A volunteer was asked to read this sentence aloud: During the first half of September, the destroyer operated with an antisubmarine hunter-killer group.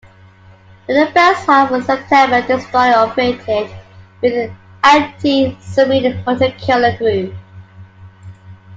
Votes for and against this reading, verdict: 0, 2, rejected